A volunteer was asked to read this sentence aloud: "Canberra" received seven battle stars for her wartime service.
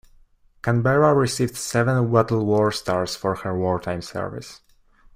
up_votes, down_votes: 0, 2